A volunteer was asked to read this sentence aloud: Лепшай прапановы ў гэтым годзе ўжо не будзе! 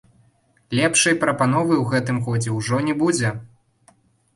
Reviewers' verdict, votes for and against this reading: rejected, 1, 2